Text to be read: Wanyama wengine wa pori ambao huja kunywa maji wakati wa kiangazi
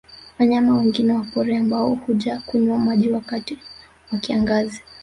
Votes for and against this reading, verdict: 1, 2, rejected